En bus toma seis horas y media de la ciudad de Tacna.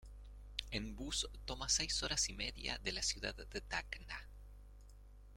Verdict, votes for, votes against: rejected, 0, 2